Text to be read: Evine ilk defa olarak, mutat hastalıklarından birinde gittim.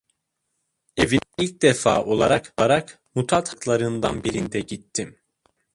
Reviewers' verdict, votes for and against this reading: rejected, 0, 2